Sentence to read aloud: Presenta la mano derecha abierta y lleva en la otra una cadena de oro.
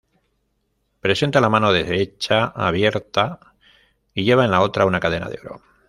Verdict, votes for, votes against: rejected, 1, 2